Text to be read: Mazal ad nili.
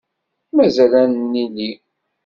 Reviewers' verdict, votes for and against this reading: rejected, 0, 2